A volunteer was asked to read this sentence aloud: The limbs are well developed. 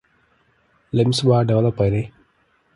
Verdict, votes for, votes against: rejected, 0, 2